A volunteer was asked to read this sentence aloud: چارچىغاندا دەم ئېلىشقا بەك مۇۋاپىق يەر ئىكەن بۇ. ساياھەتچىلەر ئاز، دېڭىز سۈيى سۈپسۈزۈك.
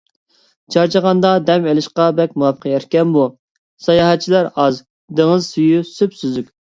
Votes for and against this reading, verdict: 2, 0, accepted